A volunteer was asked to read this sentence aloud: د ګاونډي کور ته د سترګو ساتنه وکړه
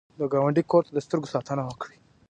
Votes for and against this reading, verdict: 2, 1, accepted